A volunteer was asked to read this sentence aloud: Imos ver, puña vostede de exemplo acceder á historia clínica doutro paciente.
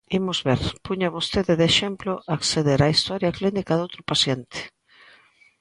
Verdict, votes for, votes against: accepted, 2, 0